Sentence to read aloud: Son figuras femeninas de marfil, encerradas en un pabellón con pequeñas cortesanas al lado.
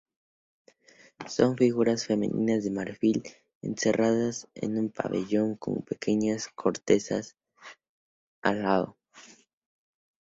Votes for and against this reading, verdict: 4, 0, accepted